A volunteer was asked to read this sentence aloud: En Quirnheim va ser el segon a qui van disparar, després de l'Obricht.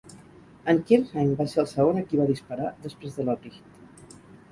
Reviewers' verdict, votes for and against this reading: rejected, 0, 4